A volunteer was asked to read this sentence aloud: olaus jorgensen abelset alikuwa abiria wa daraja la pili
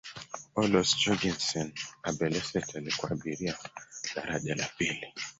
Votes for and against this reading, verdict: 0, 4, rejected